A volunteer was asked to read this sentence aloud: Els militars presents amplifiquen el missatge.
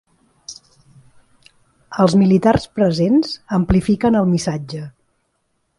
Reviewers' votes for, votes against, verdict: 3, 0, accepted